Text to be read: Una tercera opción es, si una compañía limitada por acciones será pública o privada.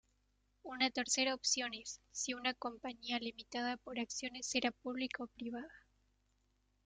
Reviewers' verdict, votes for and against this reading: accepted, 2, 1